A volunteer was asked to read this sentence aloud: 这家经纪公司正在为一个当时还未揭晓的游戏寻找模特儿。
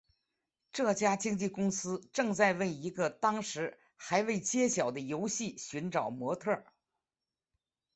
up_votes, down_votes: 2, 1